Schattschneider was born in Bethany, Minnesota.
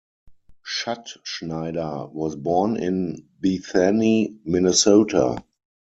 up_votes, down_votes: 0, 4